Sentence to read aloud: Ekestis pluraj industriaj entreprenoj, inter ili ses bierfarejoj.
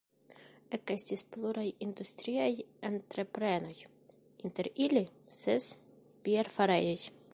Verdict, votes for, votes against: accepted, 2, 1